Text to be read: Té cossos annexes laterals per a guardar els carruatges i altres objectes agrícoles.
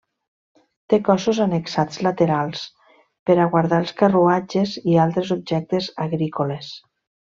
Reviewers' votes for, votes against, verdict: 0, 2, rejected